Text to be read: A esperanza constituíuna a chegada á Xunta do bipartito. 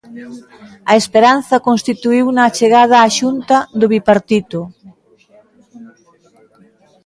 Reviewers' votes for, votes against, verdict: 3, 0, accepted